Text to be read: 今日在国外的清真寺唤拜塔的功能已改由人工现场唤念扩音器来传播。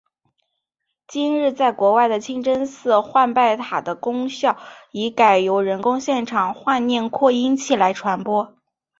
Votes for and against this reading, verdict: 2, 1, accepted